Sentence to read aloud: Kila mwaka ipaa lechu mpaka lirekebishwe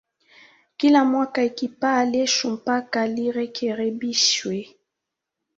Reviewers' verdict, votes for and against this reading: rejected, 0, 2